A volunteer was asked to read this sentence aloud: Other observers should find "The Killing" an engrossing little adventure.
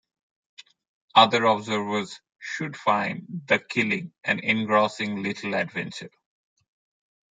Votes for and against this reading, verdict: 2, 0, accepted